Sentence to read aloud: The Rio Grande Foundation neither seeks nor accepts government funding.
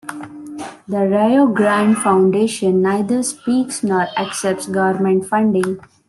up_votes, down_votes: 0, 2